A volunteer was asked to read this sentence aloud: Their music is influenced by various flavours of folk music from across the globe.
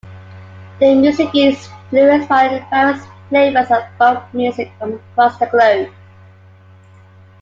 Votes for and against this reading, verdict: 0, 2, rejected